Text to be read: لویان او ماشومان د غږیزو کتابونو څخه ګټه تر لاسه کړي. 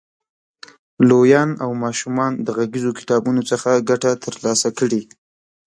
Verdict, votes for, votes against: rejected, 0, 2